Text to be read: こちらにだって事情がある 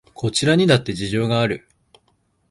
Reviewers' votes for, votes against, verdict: 2, 0, accepted